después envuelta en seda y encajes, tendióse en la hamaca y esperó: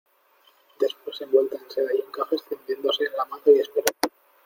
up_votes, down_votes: 0, 2